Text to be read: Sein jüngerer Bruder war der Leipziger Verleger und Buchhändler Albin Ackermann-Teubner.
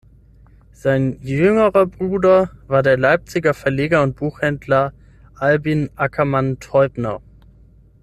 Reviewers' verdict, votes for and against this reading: accepted, 6, 3